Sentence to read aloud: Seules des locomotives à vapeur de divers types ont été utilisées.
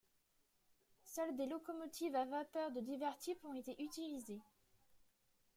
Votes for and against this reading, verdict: 2, 1, accepted